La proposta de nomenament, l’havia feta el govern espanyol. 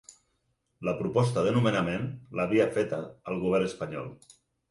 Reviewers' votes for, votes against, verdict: 4, 0, accepted